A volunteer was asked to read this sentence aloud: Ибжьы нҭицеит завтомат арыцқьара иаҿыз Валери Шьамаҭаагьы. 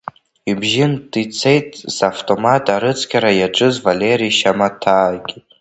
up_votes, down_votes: 0, 3